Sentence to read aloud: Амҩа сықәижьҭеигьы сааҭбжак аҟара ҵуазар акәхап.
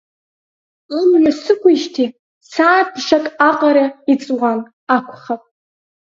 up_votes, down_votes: 2, 4